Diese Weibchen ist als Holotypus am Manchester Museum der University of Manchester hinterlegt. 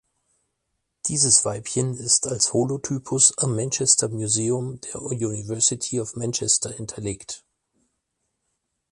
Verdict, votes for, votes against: rejected, 0, 4